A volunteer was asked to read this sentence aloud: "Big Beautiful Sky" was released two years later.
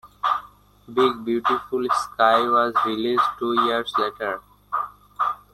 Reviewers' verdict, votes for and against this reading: accepted, 2, 1